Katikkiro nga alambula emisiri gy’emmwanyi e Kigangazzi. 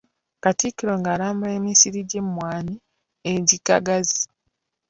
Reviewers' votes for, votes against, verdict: 0, 2, rejected